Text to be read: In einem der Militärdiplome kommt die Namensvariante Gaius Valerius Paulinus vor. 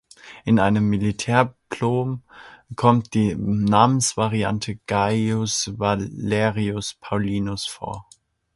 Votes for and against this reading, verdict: 0, 2, rejected